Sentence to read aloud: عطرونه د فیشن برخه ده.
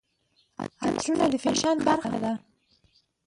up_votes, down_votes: 0, 2